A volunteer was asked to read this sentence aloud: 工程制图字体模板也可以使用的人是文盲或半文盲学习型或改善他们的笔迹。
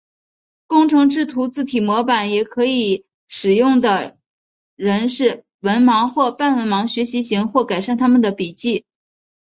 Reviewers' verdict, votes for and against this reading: accepted, 4, 1